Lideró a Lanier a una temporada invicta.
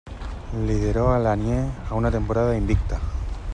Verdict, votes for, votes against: accepted, 2, 0